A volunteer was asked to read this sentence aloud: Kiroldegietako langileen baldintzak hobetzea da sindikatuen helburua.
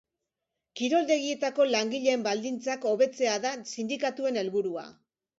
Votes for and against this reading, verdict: 2, 0, accepted